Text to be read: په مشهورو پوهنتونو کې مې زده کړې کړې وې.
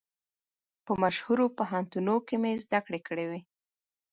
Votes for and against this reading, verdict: 2, 0, accepted